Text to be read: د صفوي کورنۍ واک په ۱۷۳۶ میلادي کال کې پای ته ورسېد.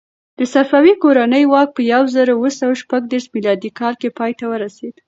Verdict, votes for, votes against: rejected, 0, 2